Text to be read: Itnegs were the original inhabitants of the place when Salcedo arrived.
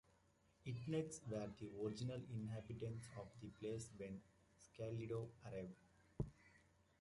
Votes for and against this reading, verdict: 0, 2, rejected